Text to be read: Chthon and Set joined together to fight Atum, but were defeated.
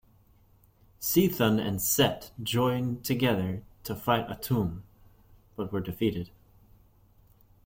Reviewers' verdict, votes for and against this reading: accepted, 2, 0